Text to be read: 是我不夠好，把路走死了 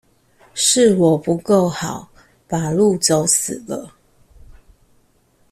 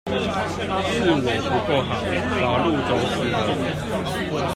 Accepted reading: first